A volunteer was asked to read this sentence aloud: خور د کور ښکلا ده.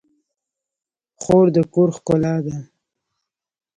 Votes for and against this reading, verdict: 0, 2, rejected